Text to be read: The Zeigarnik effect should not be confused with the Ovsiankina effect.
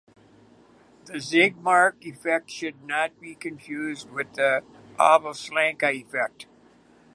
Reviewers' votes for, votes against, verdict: 0, 2, rejected